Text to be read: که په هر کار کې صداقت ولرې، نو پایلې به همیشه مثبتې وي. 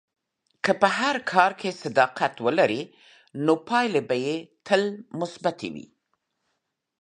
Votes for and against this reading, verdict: 0, 2, rejected